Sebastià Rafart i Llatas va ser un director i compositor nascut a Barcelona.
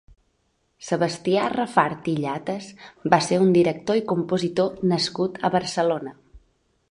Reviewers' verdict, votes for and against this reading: accepted, 4, 0